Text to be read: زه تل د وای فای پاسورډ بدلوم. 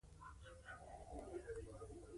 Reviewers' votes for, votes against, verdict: 1, 2, rejected